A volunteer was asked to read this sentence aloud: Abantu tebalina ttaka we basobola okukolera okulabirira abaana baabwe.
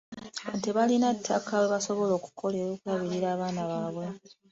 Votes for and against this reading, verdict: 0, 2, rejected